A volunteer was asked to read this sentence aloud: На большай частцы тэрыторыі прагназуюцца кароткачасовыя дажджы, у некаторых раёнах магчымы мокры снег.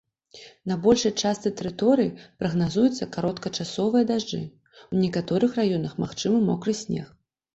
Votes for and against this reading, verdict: 2, 0, accepted